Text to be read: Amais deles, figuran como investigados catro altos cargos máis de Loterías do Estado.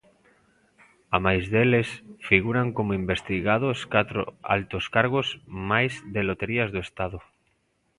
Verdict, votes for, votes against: accepted, 2, 0